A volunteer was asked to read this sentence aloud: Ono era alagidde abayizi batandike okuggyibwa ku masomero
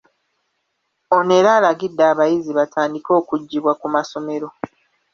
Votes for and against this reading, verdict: 2, 0, accepted